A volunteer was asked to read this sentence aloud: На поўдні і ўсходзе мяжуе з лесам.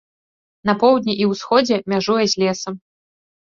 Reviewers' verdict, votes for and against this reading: accepted, 2, 0